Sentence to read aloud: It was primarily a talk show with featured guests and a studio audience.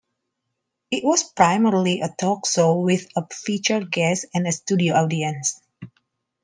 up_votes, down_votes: 2, 1